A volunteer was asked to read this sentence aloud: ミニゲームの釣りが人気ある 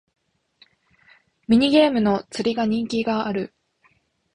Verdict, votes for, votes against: rejected, 1, 3